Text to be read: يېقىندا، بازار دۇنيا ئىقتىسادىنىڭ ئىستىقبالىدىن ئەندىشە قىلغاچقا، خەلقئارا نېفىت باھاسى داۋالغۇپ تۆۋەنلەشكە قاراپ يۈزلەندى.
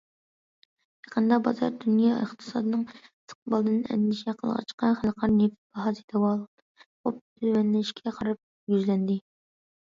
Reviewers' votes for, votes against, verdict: 2, 1, accepted